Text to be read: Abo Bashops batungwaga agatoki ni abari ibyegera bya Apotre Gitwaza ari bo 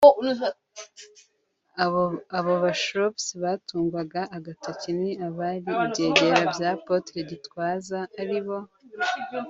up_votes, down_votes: 1, 3